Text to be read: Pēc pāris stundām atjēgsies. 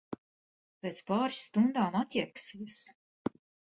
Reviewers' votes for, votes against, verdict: 1, 2, rejected